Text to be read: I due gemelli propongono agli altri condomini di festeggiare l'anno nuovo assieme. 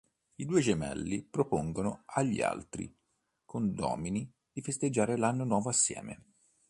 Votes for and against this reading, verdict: 2, 0, accepted